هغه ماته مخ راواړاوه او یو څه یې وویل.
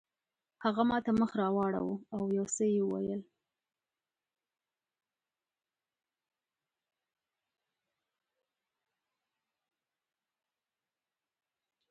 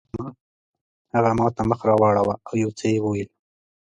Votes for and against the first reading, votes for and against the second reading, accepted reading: 0, 3, 2, 0, second